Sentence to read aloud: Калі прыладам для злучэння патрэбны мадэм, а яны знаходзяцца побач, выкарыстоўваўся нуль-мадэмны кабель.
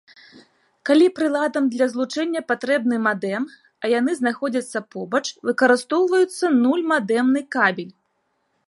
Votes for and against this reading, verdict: 2, 1, accepted